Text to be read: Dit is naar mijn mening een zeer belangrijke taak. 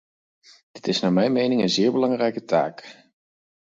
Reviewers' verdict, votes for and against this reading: accepted, 4, 0